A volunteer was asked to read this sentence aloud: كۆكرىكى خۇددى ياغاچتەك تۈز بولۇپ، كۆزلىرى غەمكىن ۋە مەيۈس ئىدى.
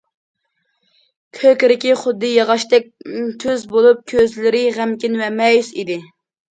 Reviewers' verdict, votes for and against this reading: accepted, 2, 0